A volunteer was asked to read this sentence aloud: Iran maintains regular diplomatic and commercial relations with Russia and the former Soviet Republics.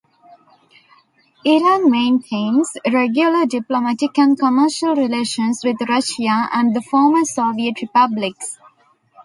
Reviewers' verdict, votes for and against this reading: accepted, 2, 1